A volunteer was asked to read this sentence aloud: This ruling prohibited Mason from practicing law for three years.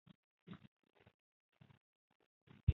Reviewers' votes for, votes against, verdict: 0, 2, rejected